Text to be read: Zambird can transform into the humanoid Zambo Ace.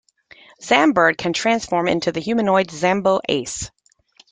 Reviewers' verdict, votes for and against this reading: accepted, 2, 0